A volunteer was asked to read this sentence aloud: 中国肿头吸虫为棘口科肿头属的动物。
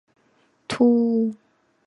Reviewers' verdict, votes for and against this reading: rejected, 0, 3